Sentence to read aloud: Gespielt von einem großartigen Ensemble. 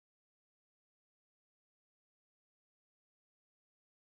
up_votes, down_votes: 0, 2